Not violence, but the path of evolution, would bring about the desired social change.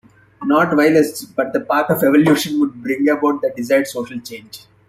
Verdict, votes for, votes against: accepted, 3, 0